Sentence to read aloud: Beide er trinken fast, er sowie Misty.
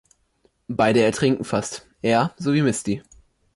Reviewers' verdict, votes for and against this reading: accepted, 2, 0